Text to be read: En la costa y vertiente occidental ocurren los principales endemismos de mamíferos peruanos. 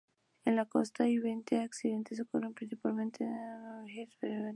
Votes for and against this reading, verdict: 0, 2, rejected